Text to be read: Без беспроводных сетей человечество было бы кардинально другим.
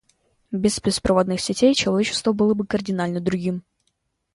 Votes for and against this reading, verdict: 2, 0, accepted